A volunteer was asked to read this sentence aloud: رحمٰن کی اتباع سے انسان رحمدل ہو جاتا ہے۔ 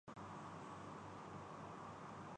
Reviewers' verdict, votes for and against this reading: rejected, 0, 8